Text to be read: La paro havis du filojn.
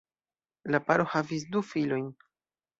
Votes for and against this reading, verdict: 2, 0, accepted